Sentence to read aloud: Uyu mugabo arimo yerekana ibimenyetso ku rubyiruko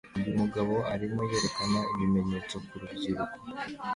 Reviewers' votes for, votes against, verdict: 2, 0, accepted